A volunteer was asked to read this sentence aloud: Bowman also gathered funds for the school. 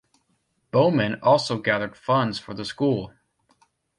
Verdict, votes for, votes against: accepted, 2, 0